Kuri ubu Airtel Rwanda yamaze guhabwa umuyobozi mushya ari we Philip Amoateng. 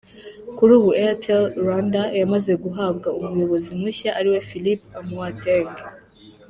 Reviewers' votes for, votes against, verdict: 3, 0, accepted